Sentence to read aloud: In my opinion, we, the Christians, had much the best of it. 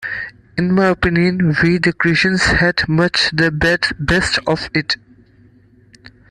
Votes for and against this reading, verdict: 0, 2, rejected